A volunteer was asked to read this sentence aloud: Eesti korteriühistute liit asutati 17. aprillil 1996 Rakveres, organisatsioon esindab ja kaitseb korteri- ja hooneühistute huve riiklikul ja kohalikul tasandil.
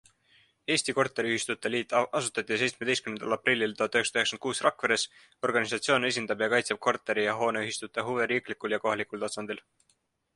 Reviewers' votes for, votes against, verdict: 0, 2, rejected